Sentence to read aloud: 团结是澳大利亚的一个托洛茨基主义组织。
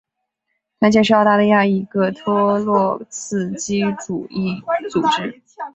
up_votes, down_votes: 8, 0